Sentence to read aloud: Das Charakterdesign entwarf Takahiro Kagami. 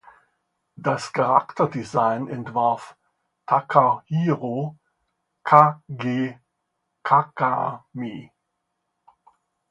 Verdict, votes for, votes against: rejected, 0, 2